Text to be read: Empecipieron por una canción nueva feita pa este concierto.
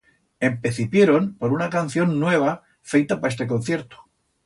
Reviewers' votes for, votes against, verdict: 2, 0, accepted